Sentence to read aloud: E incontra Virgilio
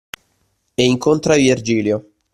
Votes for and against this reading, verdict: 2, 0, accepted